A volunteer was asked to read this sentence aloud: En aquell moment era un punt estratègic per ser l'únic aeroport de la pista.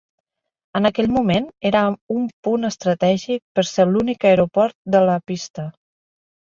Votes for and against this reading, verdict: 3, 0, accepted